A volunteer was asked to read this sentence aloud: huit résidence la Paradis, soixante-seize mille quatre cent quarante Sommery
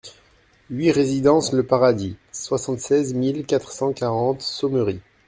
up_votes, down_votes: 1, 2